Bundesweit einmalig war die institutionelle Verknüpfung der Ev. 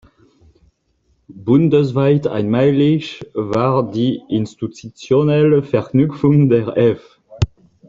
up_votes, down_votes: 1, 2